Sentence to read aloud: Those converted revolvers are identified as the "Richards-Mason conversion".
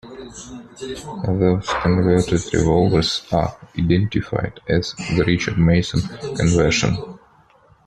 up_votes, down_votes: 2, 1